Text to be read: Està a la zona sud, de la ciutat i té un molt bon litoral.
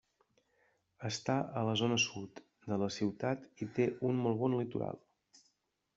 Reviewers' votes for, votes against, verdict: 3, 1, accepted